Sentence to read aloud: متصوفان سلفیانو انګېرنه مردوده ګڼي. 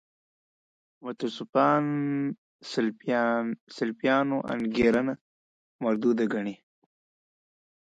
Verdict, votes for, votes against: accepted, 2, 0